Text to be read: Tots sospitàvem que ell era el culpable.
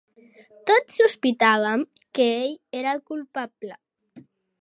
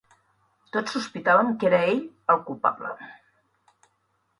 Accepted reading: first